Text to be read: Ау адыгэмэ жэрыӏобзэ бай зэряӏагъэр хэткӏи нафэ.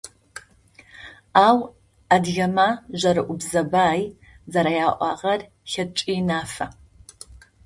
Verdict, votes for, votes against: rejected, 0, 2